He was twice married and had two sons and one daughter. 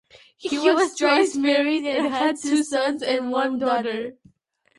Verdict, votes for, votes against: rejected, 1, 2